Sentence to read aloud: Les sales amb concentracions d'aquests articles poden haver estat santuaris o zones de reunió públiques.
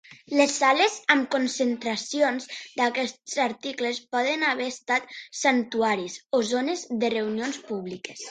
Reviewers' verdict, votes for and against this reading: rejected, 1, 2